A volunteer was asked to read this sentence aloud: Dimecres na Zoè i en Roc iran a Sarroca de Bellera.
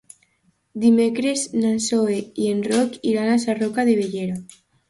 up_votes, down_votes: 2, 0